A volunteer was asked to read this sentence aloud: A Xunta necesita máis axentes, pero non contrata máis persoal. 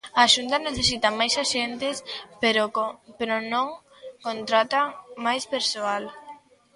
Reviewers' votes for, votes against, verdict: 0, 2, rejected